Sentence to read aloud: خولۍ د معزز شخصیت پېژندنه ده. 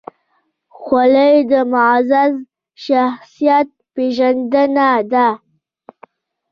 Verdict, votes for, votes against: rejected, 0, 2